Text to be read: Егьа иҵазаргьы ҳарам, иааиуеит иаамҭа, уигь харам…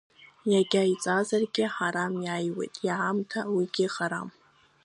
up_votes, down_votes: 2, 1